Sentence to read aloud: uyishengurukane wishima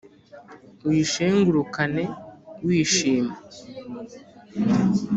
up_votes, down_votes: 2, 0